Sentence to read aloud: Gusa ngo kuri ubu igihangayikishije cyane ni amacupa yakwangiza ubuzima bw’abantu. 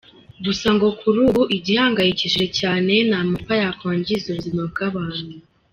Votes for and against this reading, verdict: 1, 2, rejected